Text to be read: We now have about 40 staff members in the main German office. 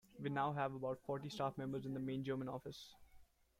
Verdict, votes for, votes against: rejected, 0, 2